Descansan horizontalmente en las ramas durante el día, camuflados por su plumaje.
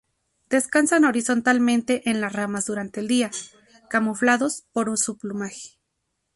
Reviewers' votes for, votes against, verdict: 0, 4, rejected